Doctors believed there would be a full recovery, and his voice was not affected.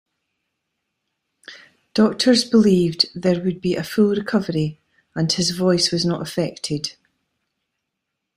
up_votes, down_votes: 2, 0